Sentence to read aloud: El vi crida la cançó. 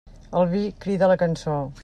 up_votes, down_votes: 3, 0